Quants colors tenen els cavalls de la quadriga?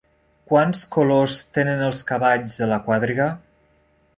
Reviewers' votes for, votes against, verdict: 0, 2, rejected